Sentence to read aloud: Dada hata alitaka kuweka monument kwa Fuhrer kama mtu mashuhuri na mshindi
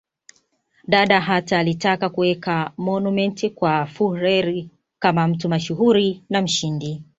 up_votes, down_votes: 2, 1